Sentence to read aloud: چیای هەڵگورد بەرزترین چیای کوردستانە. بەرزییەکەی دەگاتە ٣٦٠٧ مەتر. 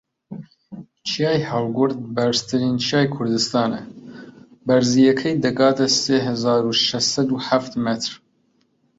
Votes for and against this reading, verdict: 0, 2, rejected